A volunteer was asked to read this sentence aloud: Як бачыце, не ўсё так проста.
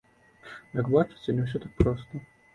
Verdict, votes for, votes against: accepted, 2, 0